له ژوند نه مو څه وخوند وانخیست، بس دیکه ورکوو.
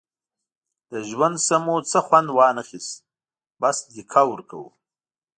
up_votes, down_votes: 2, 0